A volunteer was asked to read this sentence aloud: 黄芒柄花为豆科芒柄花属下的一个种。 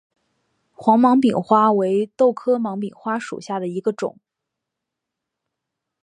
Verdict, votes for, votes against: accepted, 2, 0